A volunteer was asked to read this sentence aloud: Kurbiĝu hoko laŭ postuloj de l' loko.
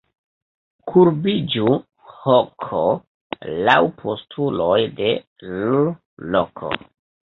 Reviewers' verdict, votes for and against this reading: rejected, 0, 2